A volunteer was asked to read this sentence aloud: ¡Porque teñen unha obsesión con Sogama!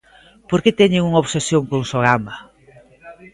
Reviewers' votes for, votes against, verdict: 1, 2, rejected